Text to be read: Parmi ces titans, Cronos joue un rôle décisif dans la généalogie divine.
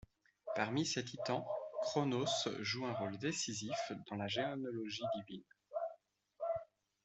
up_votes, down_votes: 2, 0